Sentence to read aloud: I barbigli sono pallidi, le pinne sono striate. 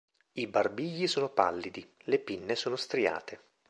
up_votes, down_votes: 2, 0